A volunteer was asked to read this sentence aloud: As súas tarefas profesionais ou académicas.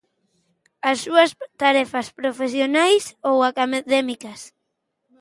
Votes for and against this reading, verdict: 0, 2, rejected